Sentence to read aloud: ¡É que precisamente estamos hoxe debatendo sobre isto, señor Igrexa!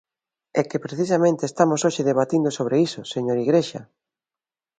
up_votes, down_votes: 0, 2